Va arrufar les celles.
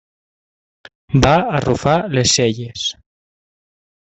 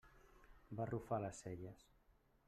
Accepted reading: first